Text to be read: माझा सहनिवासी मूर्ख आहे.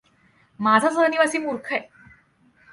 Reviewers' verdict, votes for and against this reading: accepted, 2, 0